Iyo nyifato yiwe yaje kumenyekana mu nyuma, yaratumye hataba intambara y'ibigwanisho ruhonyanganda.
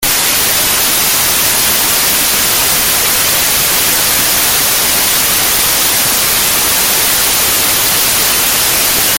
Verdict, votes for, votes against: rejected, 0, 2